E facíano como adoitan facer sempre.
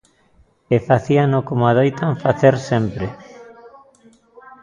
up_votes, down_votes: 1, 2